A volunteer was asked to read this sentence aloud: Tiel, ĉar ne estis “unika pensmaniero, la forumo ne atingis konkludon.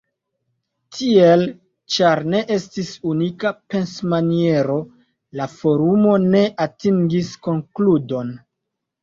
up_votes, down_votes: 2, 0